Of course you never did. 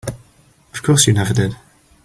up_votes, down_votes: 4, 0